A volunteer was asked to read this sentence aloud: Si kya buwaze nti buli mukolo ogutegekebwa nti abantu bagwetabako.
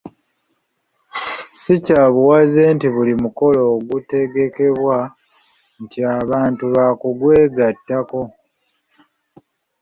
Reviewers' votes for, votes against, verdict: 0, 2, rejected